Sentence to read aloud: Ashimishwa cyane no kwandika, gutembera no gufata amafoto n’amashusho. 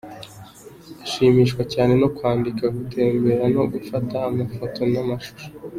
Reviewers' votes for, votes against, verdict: 2, 0, accepted